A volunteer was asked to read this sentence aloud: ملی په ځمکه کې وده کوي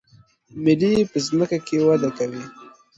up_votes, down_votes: 2, 0